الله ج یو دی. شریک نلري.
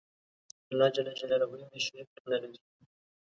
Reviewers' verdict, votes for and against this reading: accepted, 2, 0